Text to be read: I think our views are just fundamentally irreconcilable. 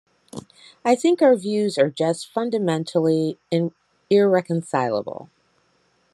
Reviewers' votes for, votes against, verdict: 2, 1, accepted